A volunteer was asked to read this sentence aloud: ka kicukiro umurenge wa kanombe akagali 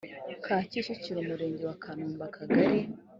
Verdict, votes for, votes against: rejected, 1, 2